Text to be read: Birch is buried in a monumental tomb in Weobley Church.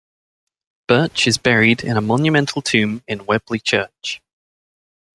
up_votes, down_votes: 2, 0